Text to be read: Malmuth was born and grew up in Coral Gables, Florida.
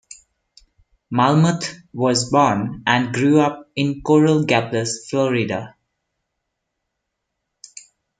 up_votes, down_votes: 1, 2